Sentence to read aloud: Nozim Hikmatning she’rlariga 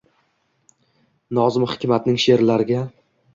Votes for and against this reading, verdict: 2, 0, accepted